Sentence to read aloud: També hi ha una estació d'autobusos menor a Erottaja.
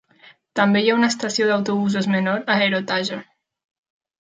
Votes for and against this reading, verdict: 2, 0, accepted